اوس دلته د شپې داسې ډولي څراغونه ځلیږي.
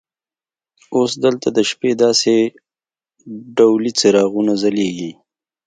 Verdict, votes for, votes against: accepted, 2, 0